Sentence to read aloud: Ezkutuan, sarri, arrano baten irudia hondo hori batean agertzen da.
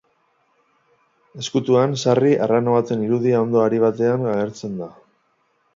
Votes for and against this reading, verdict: 2, 2, rejected